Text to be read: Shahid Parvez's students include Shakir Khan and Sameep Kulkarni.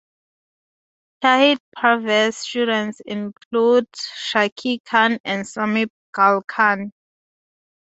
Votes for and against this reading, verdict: 0, 2, rejected